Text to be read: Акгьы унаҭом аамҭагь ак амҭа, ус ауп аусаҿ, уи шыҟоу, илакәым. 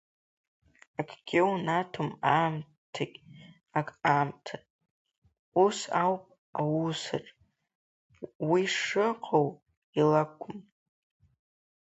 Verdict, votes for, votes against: rejected, 0, 2